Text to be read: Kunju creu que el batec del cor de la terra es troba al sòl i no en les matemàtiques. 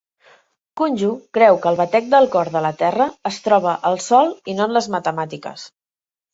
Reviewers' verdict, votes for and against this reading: accepted, 2, 0